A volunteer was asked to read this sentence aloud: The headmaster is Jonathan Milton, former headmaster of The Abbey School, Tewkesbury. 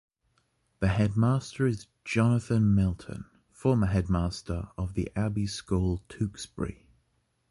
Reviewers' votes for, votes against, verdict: 2, 0, accepted